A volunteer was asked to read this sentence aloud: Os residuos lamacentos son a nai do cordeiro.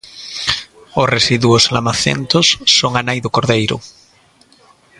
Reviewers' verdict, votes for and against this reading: accepted, 2, 0